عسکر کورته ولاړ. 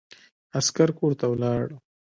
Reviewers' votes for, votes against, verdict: 2, 1, accepted